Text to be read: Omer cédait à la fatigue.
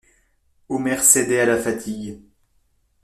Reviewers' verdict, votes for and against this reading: accepted, 2, 0